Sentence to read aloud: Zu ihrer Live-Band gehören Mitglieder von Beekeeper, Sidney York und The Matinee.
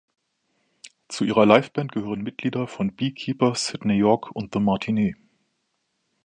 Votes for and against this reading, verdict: 2, 1, accepted